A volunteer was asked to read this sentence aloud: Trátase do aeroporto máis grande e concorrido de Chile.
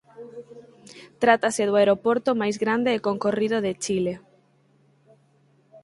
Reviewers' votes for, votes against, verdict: 4, 0, accepted